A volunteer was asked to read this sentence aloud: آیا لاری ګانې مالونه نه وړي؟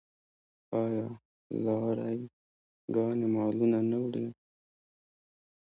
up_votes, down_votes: 1, 2